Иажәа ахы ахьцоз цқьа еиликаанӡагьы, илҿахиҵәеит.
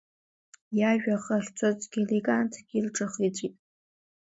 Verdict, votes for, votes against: rejected, 1, 2